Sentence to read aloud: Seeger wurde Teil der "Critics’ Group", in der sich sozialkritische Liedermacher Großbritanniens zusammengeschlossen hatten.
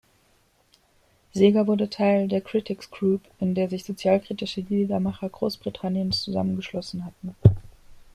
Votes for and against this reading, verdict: 2, 0, accepted